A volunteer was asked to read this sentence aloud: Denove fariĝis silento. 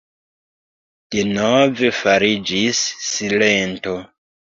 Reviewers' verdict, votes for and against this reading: accepted, 3, 2